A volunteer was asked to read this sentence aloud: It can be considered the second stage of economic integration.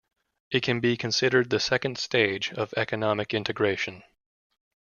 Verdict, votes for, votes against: accepted, 2, 0